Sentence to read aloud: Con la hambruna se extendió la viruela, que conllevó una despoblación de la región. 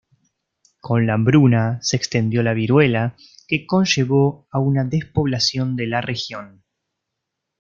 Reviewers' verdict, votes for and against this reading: rejected, 0, 2